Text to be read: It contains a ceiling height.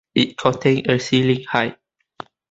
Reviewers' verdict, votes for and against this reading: rejected, 1, 2